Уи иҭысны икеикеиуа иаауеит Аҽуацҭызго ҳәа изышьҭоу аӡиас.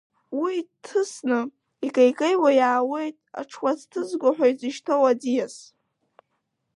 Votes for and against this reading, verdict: 2, 0, accepted